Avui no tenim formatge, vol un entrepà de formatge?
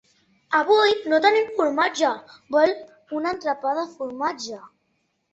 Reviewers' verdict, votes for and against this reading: rejected, 1, 3